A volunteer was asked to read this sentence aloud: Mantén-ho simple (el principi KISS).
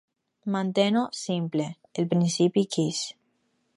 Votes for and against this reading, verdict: 2, 2, rejected